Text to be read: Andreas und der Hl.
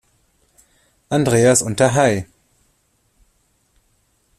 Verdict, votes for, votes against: accepted, 2, 0